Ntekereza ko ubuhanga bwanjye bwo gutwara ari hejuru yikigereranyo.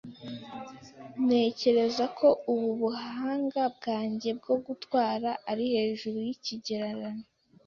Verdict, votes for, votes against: rejected, 1, 2